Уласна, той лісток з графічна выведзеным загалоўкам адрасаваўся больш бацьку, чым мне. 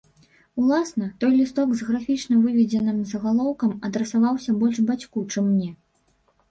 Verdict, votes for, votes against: rejected, 0, 3